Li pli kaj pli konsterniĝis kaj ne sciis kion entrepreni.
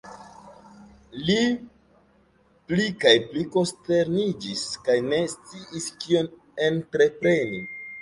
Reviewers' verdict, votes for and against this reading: rejected, 0, 2